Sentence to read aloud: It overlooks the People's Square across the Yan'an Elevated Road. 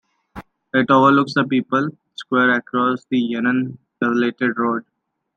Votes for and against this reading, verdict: 2, 0, accepted